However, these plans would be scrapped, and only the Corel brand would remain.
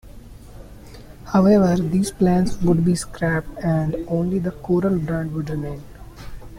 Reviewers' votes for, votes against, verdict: 2, 0, accepted